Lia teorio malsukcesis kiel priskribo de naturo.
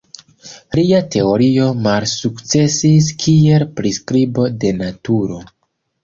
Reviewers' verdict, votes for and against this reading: accepted, 2, 1